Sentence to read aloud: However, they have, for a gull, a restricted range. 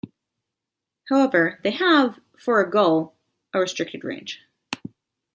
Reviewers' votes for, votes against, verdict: 2, 1, accepted